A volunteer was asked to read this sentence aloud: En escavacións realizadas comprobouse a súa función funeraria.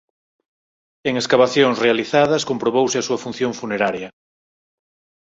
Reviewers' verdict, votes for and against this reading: accepted, 4, 0